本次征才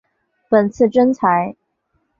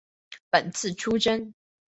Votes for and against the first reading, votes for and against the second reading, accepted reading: 4, 0, 2, 2, first